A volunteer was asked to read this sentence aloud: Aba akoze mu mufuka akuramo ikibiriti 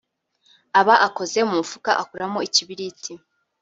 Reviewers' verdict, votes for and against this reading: rejected, 0, 2